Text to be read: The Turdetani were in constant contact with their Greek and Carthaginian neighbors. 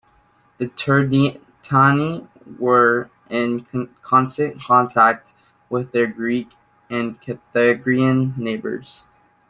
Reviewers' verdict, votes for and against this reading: rejected, 0, 2